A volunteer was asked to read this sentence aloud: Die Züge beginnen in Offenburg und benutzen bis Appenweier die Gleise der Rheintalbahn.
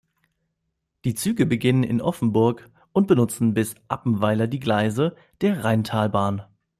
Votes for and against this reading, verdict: 0, 2, rejected